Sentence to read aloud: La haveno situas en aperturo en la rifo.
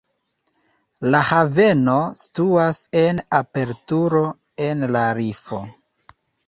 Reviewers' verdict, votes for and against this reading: rejected, 1, 2